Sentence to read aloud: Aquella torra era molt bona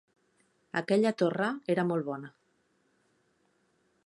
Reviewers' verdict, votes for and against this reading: accepted, 3, 0